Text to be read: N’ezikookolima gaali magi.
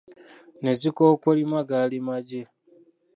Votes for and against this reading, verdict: 1, 2, rejected